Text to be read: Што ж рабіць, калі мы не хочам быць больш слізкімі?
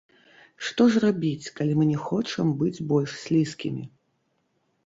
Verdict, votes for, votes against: rejected, 1, 2